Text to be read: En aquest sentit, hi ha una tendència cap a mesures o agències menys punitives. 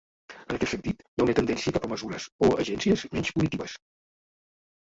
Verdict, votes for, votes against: rejected, 0, 2